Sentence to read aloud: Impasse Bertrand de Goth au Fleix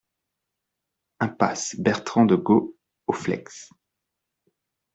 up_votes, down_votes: 2, 0